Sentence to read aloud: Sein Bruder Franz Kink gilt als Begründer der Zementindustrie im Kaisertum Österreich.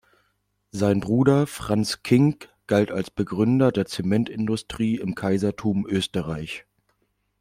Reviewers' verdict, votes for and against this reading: rejected, 1, 2